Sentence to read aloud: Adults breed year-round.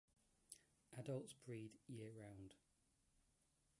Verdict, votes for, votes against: rejected, 2, 3